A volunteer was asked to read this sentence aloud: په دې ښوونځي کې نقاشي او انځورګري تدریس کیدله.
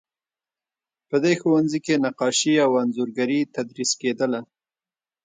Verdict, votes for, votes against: accepted, 2, 0